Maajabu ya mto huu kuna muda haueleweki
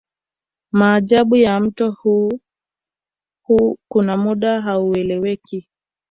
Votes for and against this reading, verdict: 2, 1, accepted